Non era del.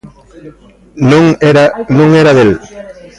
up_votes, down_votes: 0, 2